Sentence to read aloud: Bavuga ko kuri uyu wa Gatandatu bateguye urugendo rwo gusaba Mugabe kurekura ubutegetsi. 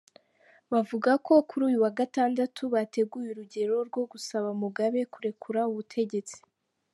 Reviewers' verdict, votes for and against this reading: rejected, 1, 2